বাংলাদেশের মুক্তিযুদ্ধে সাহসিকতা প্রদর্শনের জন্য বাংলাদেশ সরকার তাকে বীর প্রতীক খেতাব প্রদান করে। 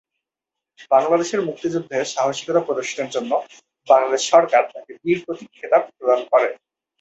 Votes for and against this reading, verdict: 2, 2, rejected